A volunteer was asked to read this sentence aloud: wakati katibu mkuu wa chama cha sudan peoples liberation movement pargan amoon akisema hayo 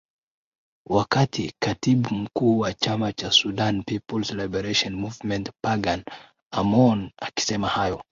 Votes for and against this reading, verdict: 2, 4, rejected